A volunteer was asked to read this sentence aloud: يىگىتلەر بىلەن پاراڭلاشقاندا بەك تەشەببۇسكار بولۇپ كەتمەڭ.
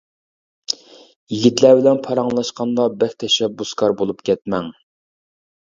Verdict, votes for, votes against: accepted, 2, 0